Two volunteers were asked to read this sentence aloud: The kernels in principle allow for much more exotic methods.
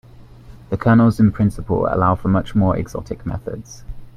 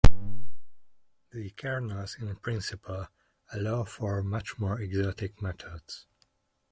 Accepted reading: first